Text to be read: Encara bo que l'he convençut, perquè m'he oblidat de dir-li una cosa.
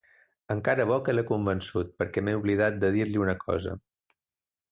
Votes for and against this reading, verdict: 3, 0, accepted